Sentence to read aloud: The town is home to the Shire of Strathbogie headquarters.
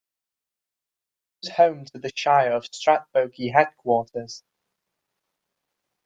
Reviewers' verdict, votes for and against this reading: rejected, 0, 2